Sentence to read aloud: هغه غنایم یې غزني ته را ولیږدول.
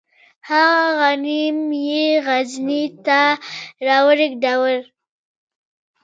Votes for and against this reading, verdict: 0, 2, rejected